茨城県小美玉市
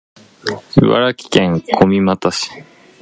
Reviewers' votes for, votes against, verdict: 1, 2, rejected